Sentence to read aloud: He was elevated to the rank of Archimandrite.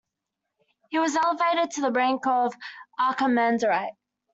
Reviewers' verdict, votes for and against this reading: accepted, 2, 1